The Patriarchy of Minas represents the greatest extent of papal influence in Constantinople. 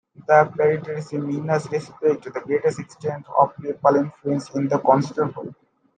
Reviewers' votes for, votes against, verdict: 0, 2, rejected